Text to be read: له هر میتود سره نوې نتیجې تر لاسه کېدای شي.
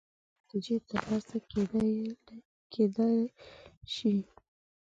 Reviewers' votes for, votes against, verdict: 0, 2, rejected